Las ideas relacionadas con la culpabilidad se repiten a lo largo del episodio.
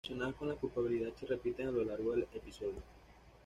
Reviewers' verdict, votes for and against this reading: rejected, 1, 2